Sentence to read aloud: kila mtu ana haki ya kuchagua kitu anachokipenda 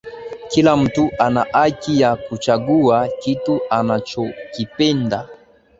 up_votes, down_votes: 5, 2